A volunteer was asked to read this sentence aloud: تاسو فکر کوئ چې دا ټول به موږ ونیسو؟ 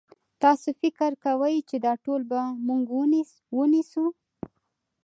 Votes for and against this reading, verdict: 2, 0, accepted